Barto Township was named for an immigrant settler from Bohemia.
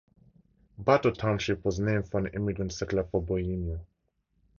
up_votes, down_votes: 0, 2